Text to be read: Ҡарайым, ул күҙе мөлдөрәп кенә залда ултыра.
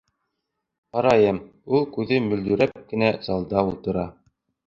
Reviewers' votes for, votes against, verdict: 2, 0, accepted